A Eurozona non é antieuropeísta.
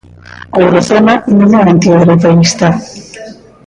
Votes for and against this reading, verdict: 0, 2, rejected